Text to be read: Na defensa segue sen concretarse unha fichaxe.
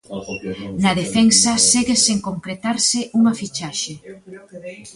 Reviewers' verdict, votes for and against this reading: accepted, 2, 0